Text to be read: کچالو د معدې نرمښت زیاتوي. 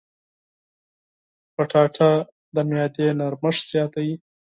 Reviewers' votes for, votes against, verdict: 2, 4, rejected